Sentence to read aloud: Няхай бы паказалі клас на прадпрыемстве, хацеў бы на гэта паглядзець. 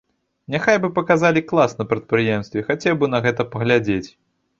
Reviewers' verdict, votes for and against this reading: accepted, 2, 0